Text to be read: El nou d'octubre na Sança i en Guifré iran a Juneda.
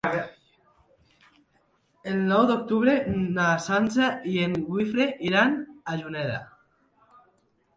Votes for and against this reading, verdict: 0, 2, rejected